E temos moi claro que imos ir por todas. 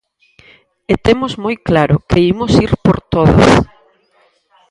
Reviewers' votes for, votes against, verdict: 2, 4, rejected